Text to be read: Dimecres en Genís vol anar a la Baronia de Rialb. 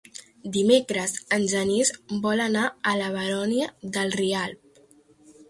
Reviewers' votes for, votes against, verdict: 0, 2, rejected